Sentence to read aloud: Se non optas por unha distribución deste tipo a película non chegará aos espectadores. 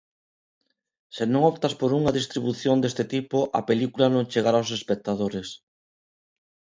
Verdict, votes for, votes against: accepted, 2, 0